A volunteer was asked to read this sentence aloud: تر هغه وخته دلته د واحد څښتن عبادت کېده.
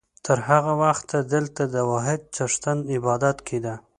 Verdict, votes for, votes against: accepted, 2, 0